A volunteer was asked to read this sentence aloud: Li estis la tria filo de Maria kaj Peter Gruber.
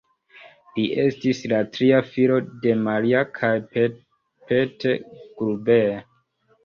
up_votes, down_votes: 2, 0